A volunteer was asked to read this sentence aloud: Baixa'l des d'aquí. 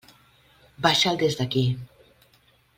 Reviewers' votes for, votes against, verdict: 2, 0, accepted